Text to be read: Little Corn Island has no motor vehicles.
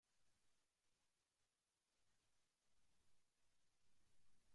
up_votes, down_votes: 0, 2